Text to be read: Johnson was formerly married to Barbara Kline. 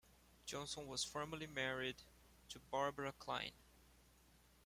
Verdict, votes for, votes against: accepted, 2, 0